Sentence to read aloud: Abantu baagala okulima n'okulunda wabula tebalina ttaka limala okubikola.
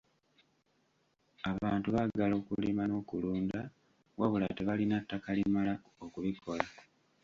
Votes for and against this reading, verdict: 0, 2, rejected